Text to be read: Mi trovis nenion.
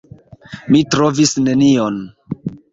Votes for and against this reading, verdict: 2, 1, accepted